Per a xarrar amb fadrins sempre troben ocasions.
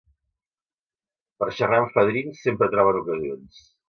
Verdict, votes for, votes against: rejected, 1, 2